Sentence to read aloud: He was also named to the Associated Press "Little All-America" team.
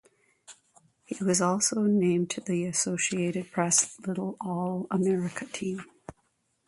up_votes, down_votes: 2, 0